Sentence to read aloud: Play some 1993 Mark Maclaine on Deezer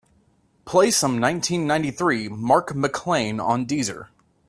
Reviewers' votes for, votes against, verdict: 0, 2, rejected